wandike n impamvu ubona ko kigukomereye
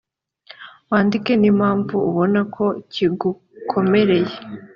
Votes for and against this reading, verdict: 2, 0, accepted